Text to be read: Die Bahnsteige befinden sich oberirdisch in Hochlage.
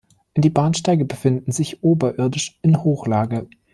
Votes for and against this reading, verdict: 2, 0, accepted